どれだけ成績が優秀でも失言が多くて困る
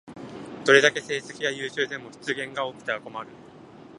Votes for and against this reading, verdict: 0, 2, rejected